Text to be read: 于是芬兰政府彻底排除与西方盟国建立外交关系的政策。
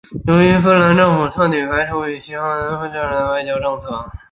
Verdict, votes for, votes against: rejected, 0, 2